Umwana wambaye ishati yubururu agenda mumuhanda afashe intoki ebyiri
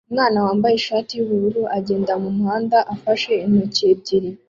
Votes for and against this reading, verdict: 2, 0, accepted